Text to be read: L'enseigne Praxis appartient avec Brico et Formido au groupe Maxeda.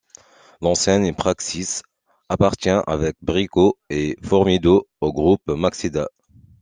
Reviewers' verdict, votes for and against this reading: accepted, 2, 0